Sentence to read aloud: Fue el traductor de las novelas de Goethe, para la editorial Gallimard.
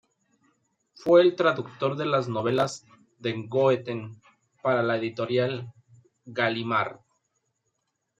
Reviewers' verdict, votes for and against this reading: rejected, 1, 2